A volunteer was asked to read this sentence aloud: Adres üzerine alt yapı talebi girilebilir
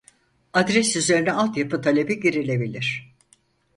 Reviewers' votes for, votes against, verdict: 4, 0, accepted